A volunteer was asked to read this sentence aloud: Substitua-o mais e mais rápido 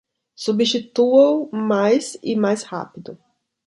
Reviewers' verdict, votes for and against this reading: accepted, 2, 0